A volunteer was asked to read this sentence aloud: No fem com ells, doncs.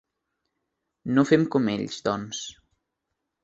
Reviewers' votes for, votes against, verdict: 3, 0, accepted